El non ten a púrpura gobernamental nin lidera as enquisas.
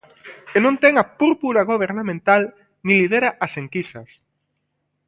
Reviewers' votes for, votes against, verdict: 2, 0, accepted